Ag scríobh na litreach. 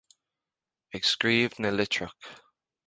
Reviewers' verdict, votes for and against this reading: accepted, 2, 0